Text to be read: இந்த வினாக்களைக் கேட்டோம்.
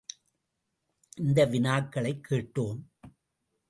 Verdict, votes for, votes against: accepted, 2, 0